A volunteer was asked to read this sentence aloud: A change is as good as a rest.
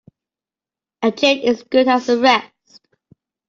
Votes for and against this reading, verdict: 0, 2, rejected